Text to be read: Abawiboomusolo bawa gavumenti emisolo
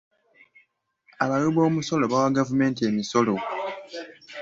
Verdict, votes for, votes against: accepted, 2, 0